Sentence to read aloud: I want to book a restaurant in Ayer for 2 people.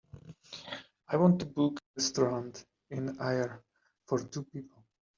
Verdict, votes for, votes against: rejected, 0, 2